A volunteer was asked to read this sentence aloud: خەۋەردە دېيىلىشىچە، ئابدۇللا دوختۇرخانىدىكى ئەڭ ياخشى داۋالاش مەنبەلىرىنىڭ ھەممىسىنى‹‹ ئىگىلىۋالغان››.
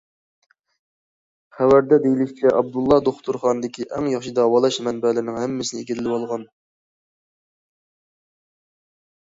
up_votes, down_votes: 2, 0